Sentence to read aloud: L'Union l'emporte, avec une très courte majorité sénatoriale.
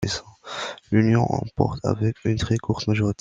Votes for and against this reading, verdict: 0, 2, rejected